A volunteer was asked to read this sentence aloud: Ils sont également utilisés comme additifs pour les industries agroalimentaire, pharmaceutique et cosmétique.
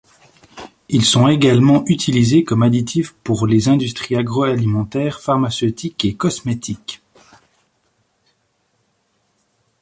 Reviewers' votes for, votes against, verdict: 2, 0, accepted